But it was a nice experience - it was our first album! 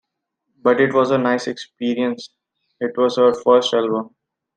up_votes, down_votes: 2, 1